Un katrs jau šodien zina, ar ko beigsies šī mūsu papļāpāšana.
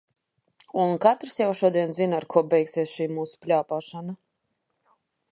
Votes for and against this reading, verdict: 0, 2, rejected